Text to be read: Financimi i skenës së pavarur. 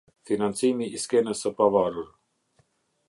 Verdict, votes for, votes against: accepted, 2, 0